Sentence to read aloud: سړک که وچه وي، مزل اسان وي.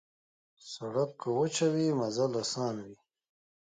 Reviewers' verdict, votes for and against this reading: accepted, 2, 0